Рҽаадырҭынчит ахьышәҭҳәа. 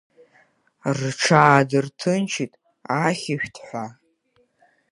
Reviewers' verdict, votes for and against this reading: accepted, 2, 0